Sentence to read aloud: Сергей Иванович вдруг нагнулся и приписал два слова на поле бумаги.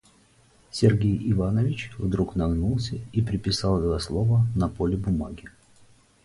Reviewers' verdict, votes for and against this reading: rejected, 0, 2